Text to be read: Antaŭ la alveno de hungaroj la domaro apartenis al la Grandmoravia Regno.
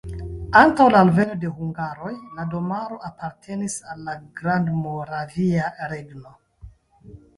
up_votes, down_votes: 0, 2